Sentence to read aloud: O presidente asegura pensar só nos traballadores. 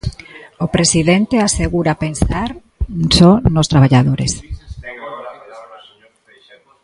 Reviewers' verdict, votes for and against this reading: rejected, 1, 2